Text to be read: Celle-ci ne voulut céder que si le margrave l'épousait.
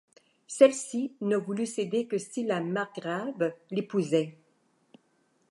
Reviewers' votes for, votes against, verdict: 1, 2, rejected